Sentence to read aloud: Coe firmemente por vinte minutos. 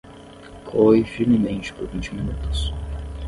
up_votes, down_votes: 5, 5